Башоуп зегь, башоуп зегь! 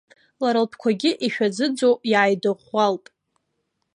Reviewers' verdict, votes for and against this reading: rejected, 0, 2